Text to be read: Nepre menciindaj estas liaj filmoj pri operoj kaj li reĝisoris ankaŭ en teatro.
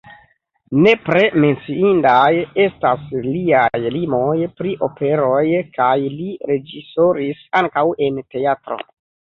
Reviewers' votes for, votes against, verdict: 0, 3, rejected